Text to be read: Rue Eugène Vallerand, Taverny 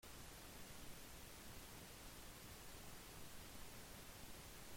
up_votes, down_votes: 0, 2